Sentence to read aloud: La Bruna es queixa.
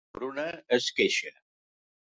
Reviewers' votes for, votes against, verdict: 1, 2, rejected